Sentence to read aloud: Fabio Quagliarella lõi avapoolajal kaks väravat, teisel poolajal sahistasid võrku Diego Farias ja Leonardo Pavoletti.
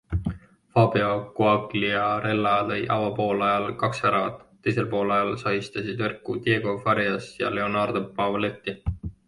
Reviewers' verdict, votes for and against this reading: accepted, 2, 0